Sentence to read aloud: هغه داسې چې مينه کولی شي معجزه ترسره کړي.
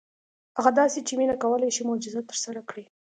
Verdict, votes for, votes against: accepted, 2, 0